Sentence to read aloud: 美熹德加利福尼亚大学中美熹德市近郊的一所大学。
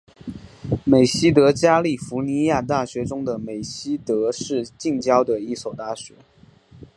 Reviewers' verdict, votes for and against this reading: accepted, 3, 2